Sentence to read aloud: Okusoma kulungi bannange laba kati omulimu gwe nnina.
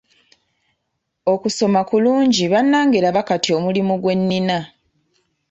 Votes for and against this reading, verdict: 2, 0, accepted